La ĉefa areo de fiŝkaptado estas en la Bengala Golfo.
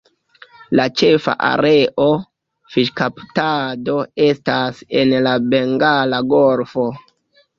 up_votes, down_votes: 1, 2